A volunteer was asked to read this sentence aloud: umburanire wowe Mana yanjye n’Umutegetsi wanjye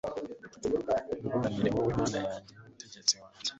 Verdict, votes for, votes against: rejected, 1, 2